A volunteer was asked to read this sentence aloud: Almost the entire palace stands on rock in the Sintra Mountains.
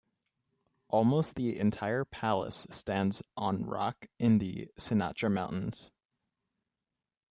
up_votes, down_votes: 0, 2